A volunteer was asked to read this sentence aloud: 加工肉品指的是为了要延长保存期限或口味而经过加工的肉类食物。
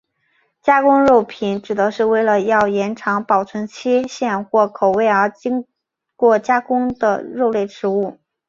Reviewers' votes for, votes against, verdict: 4, 0, accepted